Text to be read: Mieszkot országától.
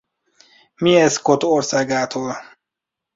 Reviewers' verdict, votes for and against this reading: accepted, 2, 0